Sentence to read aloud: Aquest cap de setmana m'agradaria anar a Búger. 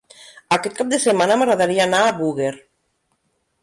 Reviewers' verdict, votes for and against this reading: rejected, 1, 2